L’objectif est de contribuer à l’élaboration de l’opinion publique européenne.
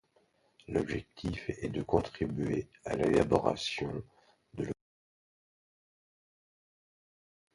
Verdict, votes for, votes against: rejected, 1, 2